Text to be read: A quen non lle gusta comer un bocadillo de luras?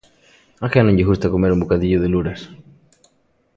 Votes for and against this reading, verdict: 2, 0, accepted